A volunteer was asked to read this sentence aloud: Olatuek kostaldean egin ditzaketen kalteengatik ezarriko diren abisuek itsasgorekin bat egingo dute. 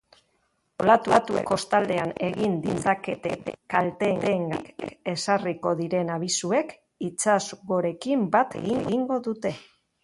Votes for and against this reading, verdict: 0, 3, rejected